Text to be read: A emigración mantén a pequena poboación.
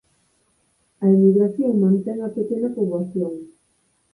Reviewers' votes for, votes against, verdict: 2, 4, rejected